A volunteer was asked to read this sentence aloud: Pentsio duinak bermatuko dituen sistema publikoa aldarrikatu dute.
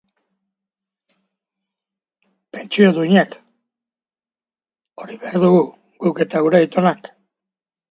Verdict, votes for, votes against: rejected, 0, 2